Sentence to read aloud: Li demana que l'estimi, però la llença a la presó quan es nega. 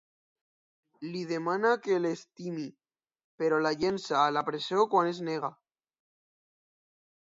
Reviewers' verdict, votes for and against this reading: accepted, 2, 1